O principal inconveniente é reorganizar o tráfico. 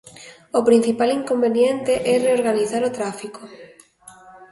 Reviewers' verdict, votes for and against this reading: accepted, 3, 0